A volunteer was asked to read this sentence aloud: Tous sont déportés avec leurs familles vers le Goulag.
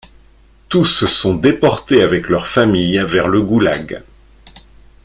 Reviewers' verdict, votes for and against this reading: accepted, 2, 0